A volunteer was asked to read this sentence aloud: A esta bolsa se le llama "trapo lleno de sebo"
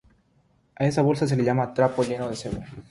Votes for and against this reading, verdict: 3, 3, rejected